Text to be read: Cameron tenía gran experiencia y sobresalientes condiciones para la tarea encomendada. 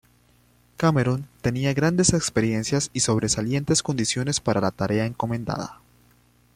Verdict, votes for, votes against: accepted, 2, 0